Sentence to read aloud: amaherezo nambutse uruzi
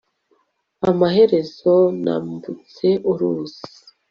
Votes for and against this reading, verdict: 2, 0, accepted